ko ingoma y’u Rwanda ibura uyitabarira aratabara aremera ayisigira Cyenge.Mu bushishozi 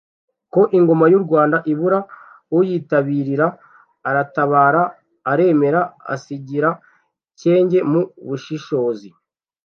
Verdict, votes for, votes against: rejected, 0, 2